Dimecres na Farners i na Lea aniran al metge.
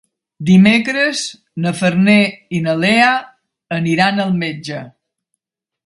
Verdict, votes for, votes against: rejected, 0, 2